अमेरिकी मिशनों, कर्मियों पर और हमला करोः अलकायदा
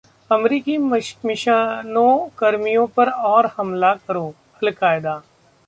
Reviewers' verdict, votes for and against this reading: rejected, 0, 2